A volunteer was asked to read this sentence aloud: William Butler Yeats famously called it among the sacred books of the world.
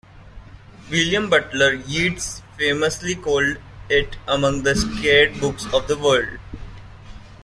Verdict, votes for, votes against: rejected, 0, 2